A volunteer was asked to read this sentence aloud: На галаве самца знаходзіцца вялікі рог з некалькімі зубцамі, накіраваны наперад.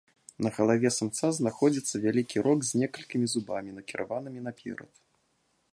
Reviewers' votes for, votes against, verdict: 2, 3, rejected